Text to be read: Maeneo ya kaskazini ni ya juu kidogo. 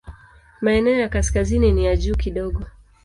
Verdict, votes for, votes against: accepted, 2, 0